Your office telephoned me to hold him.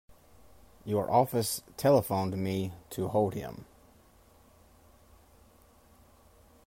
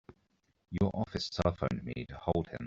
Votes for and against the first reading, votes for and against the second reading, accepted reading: 2, 1, 0, 2, first